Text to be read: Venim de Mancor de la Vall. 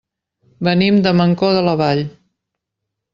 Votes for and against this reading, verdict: 3, 0, accepted